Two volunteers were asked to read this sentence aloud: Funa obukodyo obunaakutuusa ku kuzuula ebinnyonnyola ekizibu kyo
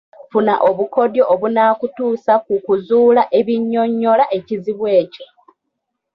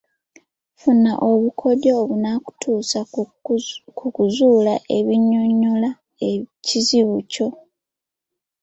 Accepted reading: first